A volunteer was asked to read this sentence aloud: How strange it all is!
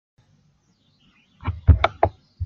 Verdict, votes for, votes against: rejected, 0, 2